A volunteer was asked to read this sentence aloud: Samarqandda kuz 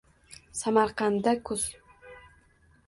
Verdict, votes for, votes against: rejected, 1, 2